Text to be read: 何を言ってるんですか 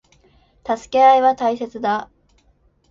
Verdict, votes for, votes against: rejected, 0, 2